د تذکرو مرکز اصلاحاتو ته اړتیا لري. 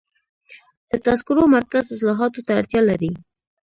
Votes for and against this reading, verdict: 2, 1, accepted